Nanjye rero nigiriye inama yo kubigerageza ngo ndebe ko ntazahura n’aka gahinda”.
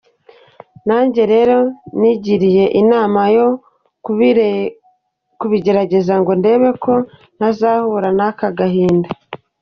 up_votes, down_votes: 0, 2